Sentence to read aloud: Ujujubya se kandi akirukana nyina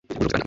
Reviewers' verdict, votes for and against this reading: rejected, 1, 2